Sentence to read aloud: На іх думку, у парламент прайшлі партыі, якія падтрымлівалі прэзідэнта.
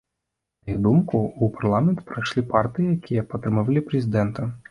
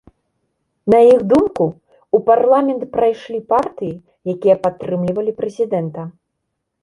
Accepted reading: second